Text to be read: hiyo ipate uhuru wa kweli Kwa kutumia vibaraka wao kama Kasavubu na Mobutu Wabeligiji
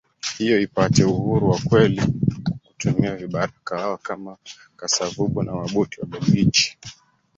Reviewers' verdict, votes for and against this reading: rejected, 0, 2